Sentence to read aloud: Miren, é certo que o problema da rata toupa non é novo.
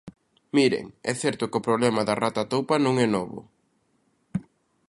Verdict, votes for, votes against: accepted, 2, 0